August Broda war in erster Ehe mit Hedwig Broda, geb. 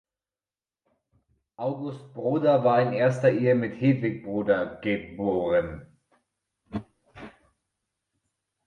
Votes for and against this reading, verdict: 0, 2, rejected